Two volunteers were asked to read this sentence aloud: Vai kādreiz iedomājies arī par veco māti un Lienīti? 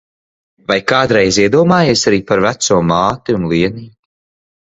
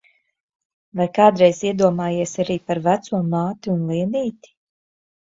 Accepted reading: second